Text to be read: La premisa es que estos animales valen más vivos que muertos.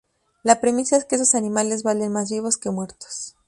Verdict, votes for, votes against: accepted, 2, 0